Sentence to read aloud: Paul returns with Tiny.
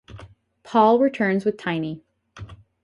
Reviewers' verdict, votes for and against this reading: accepted, 4, 0